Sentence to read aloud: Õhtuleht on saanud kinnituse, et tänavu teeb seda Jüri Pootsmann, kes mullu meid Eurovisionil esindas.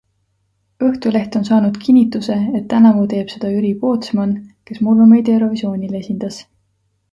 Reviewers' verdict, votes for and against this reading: accepted, 2, 0